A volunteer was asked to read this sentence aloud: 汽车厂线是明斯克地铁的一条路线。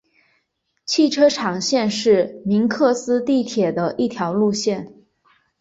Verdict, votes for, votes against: accepted, 2, 1